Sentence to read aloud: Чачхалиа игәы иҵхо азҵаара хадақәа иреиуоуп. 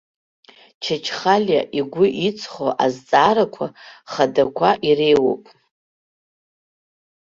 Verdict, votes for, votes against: rejected, 1, 2